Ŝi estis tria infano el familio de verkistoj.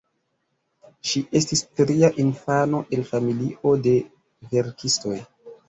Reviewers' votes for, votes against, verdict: 2, 1, accepted